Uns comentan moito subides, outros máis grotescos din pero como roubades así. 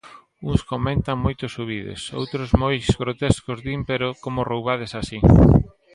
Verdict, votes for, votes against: rejected, 0, 2